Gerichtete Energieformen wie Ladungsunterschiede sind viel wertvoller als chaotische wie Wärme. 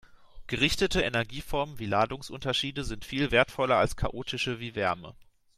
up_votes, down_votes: 2, 0